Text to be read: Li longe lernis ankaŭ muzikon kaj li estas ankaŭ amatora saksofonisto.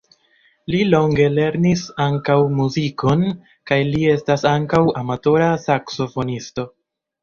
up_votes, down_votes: 2, 0